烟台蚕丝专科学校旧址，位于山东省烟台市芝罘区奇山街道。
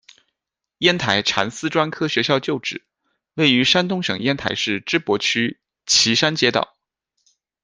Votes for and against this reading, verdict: 2, 1, accepted